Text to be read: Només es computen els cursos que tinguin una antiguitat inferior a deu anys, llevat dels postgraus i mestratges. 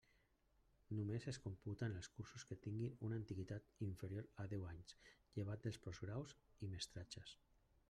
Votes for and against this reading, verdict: 1, 2, rejected